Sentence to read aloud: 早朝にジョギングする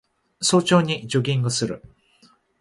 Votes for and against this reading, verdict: 2, 0, accepted